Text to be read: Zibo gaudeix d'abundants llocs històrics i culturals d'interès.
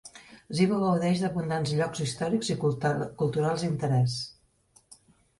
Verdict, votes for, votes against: rejected, 1, 2